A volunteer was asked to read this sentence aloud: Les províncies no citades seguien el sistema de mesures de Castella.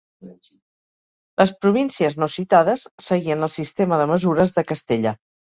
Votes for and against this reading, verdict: 2, 0, accepted